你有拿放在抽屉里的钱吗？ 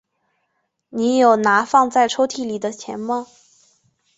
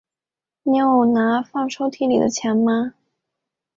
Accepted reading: first